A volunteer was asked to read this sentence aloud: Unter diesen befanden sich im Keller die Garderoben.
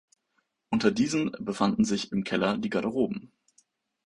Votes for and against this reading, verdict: 2, 0, accepted